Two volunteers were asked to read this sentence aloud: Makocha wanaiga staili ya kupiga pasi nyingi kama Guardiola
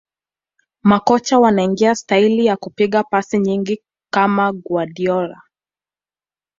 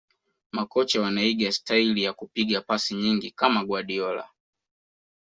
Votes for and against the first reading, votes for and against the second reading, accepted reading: 2, 0, 0, 2, first